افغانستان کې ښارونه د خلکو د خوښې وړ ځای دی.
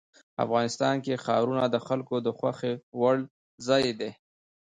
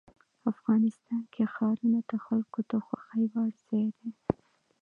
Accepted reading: second